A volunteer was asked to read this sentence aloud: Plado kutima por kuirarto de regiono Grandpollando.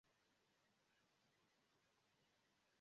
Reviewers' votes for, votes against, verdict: 0, 2, rejected